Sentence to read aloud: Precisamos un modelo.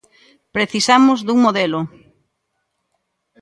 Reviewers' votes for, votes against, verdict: 0, 2, rejected